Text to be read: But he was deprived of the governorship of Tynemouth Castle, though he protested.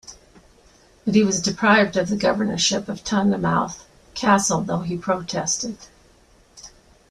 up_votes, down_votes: 2, 0